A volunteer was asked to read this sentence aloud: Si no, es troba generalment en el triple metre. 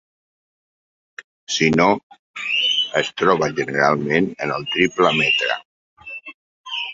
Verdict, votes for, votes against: rejected, 8, 10